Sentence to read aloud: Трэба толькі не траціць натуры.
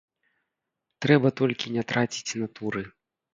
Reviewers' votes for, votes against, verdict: 1, 2, rejected